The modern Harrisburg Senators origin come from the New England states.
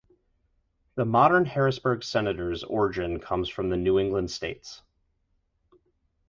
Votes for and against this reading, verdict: 2, 2, rejected